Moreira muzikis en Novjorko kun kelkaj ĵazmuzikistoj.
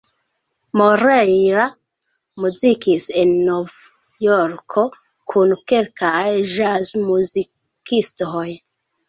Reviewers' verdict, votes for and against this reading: rejected, 0, 2